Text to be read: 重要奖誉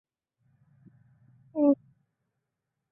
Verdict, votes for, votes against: rejected, 1, 2